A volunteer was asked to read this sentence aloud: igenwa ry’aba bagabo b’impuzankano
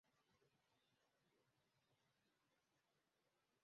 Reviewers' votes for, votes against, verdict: 1, 2, rejected